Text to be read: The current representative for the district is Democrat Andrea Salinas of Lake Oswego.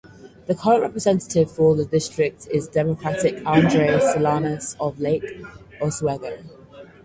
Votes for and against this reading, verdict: 2, 4, rejected